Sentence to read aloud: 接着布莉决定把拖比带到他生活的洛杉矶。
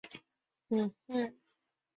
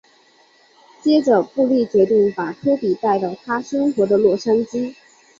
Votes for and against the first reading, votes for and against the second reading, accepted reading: 0, 3, 3, 0, second